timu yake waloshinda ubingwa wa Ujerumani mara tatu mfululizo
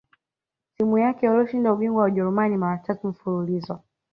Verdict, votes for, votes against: accepted, 2, 0